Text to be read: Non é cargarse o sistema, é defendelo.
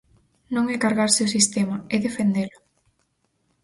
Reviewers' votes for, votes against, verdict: 4, 0, accepted